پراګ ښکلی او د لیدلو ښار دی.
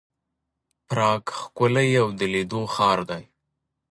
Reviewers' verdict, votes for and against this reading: accepted, 2, 1